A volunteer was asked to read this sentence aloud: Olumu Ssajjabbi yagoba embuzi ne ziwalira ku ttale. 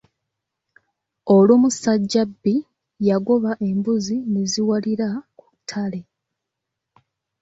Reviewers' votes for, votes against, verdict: 2, 0, accepted